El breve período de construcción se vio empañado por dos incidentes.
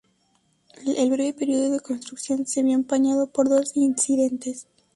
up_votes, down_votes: 2, 0